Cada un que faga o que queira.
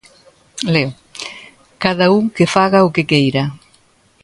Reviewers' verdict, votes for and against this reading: rejected, 0, 2